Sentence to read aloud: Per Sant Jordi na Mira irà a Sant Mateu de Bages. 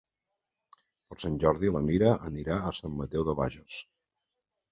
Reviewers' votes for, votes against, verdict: 1, 2, rejected